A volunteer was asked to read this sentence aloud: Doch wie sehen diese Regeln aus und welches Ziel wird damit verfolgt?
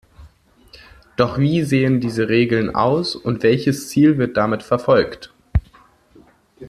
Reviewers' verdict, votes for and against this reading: accepted, 2, 0